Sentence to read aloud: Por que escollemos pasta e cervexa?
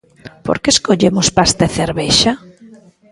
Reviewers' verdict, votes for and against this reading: rejected, 0, 2